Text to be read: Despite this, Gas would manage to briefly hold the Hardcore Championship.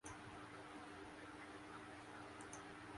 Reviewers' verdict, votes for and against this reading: rejected, 0, 2